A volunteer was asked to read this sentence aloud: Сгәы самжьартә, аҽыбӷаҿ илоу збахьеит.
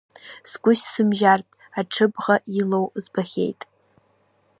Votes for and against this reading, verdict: 0, 2, rejected